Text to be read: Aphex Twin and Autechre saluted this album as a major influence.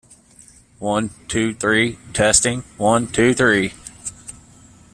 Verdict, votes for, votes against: rejected, 0, 2